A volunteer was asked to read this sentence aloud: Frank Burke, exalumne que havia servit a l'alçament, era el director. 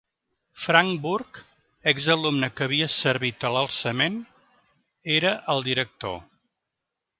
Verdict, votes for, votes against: accepted, 2, 0